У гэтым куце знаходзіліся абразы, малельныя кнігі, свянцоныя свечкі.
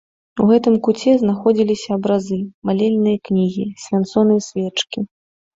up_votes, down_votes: 2, 0